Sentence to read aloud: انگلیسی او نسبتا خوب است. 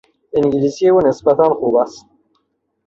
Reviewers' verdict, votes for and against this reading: accepted, 3, 0